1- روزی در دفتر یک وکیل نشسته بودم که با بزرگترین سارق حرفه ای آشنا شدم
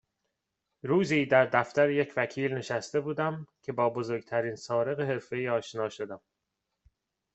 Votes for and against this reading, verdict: 0, 2, rejected